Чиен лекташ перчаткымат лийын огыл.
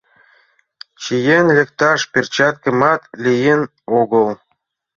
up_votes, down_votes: 2, 0